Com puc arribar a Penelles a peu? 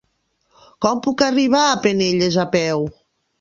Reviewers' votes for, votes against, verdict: 3, 0, accepted